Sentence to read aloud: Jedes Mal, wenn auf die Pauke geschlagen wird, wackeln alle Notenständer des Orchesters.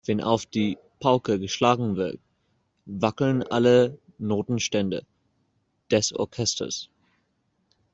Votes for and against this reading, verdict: 0, 2, rejected